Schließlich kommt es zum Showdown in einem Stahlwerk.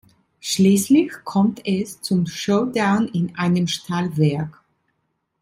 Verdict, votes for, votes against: accepted, 2, 0